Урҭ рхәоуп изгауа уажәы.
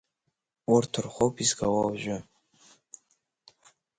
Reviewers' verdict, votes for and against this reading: accepted, 5, 0